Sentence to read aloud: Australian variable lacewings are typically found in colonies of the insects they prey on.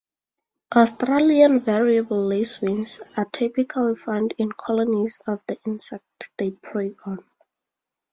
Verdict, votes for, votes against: rejected, 0, 2